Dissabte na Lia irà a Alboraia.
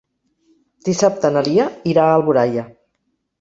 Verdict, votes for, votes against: rejected, 1, 2